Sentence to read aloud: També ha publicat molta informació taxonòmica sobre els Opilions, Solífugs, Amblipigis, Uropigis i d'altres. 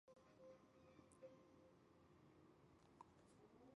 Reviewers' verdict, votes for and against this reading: rejected, 0, 2